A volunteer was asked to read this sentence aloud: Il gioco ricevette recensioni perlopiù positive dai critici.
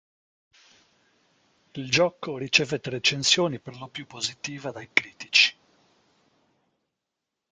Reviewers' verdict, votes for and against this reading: rejected, 1, 2